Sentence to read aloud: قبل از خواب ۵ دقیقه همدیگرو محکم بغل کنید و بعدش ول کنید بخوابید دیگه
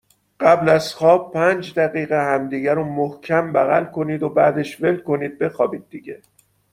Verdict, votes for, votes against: rejected, 0, 2